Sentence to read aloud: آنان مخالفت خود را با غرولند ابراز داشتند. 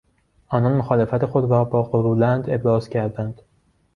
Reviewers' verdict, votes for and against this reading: rejected, 0, 2